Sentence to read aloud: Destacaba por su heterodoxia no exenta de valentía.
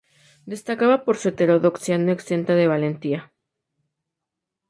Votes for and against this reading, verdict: 2, 0, accepted